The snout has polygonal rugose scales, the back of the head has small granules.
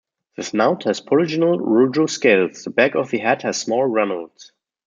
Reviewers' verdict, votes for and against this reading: rejected, 1, 2